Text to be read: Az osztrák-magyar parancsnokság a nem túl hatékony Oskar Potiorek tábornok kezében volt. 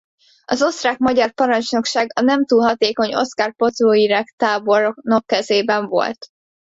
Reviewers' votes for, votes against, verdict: 2, 1, accepted